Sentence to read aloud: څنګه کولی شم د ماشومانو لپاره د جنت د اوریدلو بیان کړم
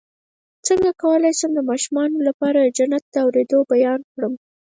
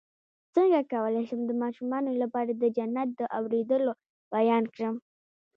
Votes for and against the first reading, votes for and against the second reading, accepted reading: 2, 4, 2, 0, second